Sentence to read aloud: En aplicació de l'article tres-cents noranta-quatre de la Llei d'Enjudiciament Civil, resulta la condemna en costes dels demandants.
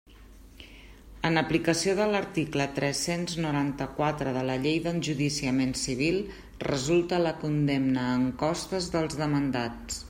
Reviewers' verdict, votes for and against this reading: rejected, 1, 2